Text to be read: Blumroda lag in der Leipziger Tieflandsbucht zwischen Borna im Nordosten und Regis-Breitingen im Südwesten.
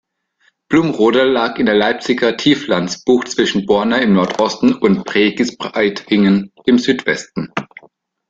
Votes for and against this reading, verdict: 1, 2, rejected